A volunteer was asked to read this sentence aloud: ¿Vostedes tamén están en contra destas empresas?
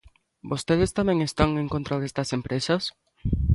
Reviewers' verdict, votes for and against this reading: accepted, 2, 0